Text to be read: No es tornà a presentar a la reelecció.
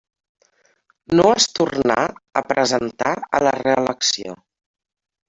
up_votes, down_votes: 3, 1